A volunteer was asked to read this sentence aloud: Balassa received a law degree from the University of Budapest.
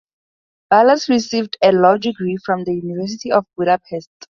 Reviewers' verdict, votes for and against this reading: rejected, 0, 2